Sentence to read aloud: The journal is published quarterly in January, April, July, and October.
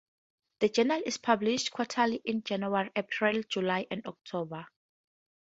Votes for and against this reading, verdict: 0, 2, rejected